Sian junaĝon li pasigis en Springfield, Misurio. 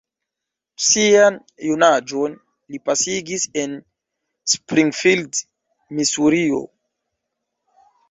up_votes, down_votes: 1, 2